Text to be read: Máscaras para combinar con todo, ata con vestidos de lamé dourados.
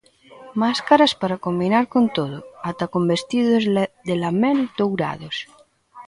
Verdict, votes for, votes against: rejected, 1, 2